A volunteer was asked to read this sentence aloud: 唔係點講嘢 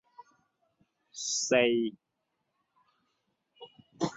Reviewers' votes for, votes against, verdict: 0, 2, rejected